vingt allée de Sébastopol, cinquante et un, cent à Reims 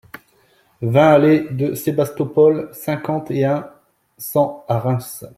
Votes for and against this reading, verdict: 2, 0, accepted